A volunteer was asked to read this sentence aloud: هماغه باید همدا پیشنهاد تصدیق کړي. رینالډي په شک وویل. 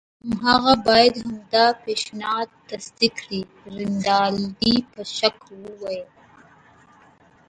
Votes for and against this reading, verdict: 2, 1, accepted